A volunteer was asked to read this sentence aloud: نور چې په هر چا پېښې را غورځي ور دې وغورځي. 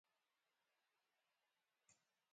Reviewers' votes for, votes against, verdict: 0, 2, rejected